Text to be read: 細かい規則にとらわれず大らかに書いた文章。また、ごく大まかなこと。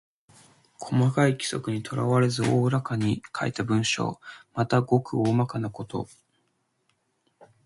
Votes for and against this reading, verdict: 2, 0, accepted